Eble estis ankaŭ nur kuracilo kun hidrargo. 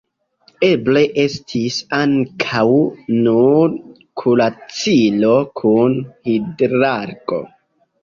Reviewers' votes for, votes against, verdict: 0, 2, rejected